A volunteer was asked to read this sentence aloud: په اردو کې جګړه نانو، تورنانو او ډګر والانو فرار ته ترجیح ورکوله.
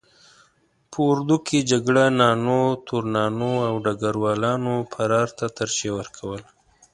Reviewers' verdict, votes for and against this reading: accepted, 2, 0